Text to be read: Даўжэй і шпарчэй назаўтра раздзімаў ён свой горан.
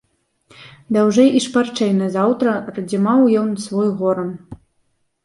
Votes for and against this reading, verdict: 0, 2, rejected